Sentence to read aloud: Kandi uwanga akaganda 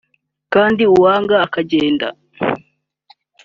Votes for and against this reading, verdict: 1, 3, rejected